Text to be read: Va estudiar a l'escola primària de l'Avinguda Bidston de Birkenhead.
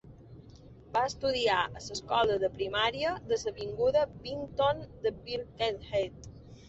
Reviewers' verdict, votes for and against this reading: rejected, 1, 2